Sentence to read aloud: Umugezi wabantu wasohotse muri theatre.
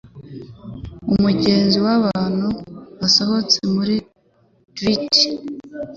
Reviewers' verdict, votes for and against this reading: rejected, 0, 2